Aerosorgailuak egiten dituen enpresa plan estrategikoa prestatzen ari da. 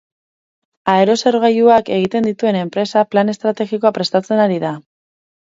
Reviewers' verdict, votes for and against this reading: accepted, 6, 0